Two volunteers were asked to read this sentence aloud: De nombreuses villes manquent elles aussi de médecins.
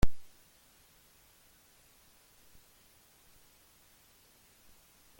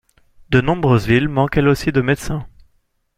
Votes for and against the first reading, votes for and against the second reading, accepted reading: 0, 2, 2, 0, second